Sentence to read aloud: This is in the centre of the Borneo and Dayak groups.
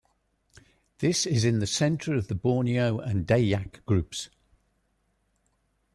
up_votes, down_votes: 0, 2